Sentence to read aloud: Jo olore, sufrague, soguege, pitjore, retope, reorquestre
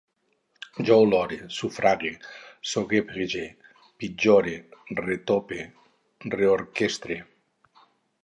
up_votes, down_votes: 2, 2